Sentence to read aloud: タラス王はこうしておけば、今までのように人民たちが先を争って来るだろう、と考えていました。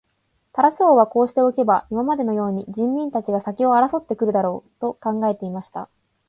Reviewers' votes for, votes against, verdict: 2, 0, accepted